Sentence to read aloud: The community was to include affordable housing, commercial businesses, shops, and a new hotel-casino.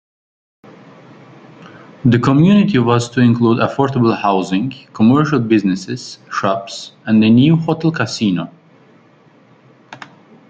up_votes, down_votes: 1, 2